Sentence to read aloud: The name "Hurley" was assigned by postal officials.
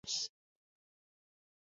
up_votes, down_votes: 0, 2